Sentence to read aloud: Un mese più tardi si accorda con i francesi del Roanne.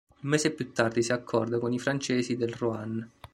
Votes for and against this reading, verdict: 2, 0, accepted